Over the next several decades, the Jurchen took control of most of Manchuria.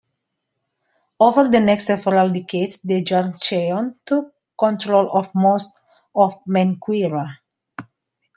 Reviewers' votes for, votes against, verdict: 0, 2, rejected